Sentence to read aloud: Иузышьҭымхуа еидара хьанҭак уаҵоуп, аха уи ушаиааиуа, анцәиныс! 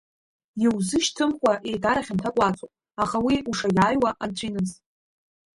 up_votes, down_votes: 1, 2